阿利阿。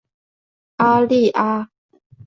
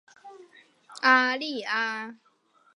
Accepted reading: first